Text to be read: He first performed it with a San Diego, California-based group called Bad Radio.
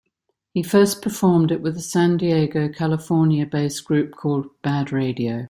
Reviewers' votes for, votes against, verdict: 2, 0, accepted